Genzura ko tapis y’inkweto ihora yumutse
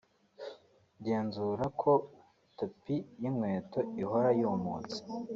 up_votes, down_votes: 2, 0